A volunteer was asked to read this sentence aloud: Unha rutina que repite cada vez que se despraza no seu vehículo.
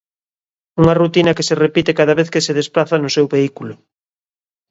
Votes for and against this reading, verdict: 0, 2, rejected